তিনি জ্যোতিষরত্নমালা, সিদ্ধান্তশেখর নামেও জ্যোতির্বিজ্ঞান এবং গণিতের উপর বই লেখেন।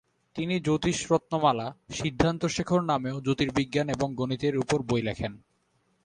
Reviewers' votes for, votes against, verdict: 2, 0, accepted